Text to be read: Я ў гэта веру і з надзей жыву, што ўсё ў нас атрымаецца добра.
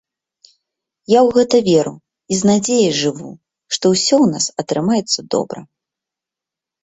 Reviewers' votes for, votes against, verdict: 2, 0, accepted